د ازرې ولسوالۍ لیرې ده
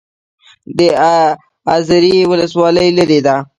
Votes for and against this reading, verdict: 0, 2, rejected